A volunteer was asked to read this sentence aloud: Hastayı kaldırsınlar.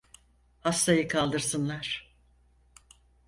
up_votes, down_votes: 4, 0